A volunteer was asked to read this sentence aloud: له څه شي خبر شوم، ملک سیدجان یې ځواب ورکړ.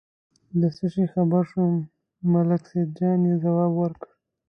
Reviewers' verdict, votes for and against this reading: rejected, 0, 2